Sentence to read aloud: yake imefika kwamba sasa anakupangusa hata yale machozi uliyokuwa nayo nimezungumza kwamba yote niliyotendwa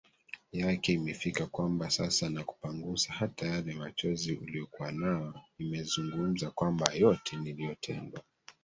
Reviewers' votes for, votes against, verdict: 1, 2, rejected